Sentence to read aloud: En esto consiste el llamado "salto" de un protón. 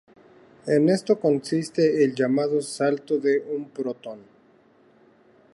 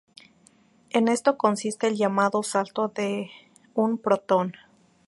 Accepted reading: first